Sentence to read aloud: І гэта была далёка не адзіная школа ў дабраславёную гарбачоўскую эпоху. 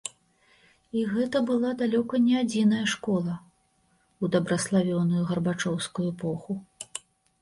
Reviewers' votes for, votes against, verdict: 2, 0, accepted